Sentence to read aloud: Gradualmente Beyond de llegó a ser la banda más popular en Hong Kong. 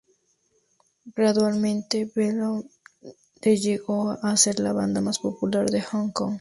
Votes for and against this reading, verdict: 2, 0, accepted